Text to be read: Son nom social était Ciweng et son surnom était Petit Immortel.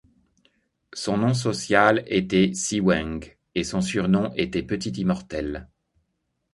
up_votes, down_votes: 3, 0